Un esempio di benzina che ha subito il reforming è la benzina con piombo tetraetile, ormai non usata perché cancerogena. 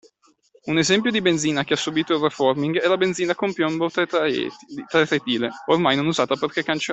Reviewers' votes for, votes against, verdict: 0, 2, rejected